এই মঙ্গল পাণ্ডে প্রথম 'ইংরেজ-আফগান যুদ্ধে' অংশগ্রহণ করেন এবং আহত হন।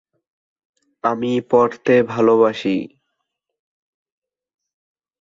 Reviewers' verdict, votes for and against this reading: rejected, 1, 2